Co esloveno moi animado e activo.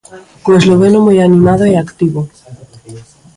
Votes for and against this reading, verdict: 0, 2, rejected